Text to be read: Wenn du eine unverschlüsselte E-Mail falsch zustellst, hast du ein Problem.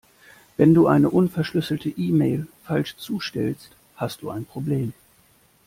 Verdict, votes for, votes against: accepted, 2, 0